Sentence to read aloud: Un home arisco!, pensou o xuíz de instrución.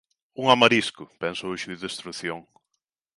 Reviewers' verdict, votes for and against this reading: accepted, 2, 1